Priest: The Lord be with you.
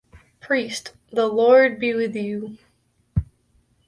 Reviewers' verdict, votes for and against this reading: accepted, 2, 0